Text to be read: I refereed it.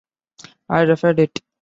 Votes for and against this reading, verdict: 0, 2, rejected